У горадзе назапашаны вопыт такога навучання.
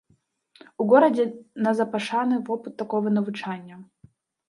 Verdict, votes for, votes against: rejected, 2, 3